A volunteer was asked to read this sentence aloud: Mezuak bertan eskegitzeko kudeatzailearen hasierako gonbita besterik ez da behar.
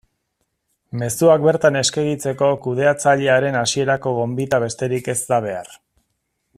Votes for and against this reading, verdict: 2, 0, accepted